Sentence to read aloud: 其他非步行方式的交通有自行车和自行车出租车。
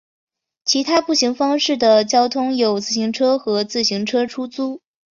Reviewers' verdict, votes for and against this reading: rejected, 0, 3